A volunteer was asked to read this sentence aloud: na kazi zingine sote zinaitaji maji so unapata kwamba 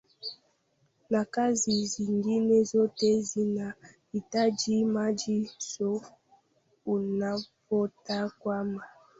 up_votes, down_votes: 0, 2